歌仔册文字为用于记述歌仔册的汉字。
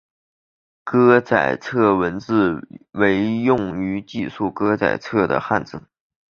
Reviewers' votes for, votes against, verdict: 2, 0, accepted